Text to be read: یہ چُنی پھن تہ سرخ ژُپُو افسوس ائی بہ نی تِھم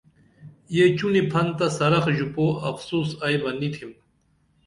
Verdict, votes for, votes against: accepted, 2, 0